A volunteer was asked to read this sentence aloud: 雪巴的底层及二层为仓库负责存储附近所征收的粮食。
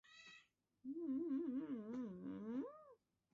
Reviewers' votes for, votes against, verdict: 0, 2, rejected